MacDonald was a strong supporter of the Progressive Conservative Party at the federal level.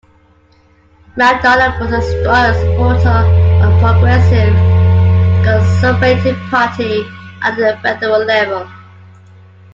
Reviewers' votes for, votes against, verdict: 0, 2, rejected